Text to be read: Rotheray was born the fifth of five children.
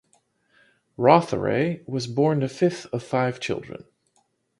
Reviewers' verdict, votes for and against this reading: accepted, 2, 0